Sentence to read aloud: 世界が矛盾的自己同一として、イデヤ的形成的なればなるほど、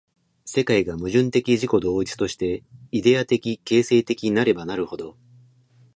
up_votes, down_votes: 2, 0